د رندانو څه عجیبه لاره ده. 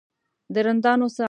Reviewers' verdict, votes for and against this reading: rejected, 0, 2